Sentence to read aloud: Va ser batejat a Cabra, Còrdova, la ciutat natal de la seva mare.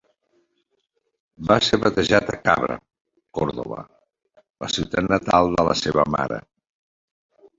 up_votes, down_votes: 2, 1